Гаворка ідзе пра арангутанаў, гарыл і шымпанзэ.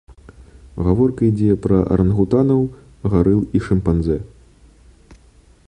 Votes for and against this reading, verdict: 2, 0, accepted